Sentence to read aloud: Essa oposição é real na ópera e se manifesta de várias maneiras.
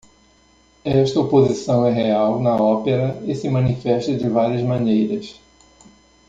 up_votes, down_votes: 2, 0